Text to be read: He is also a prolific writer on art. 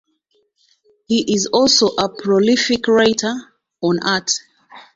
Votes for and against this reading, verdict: 2, 1, accepted